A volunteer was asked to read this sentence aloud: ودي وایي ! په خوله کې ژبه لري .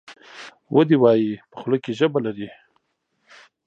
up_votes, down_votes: 2, 0